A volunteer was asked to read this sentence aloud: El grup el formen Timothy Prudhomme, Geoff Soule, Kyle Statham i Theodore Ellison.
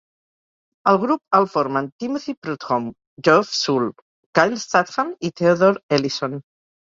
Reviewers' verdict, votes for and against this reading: accepted, 2, 0